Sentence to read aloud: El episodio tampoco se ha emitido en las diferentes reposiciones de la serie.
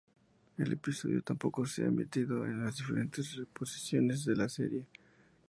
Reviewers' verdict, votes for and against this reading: accepted, 2, 0